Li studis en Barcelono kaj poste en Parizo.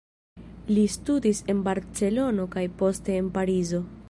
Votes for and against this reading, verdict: 1, 2, rejected